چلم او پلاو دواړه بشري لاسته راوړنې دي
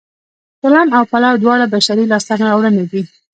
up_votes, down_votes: 2, 0